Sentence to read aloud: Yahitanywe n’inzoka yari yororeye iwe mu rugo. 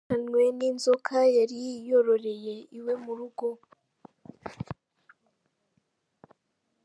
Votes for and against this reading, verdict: 1, 3, rejected